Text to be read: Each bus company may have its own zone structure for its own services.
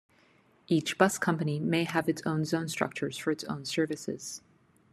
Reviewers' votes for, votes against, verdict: 1, 2, rejected